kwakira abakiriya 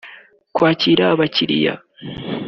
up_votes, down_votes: 2, 0